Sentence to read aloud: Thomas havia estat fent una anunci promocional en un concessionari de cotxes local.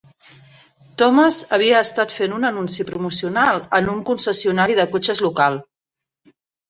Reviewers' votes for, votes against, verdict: 3, 0, accepted